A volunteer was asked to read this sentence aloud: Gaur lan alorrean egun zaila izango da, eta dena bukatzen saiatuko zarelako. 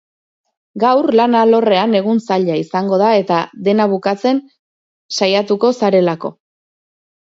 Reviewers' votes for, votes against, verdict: 6, 0, accepted